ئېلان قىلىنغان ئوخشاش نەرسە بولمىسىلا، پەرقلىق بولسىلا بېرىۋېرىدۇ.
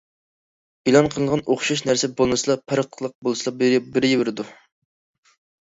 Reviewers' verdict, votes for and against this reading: rejected, 0, 2